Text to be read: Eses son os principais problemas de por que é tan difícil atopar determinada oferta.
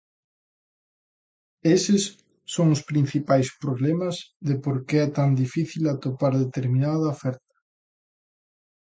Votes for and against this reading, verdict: 2, 0, accepted